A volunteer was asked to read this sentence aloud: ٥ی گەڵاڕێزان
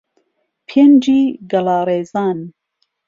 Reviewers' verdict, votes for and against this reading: rejected, 0, 2